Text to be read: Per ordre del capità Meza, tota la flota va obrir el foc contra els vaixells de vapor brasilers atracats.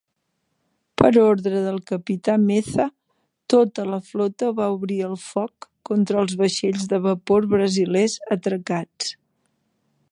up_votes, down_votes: 2, 0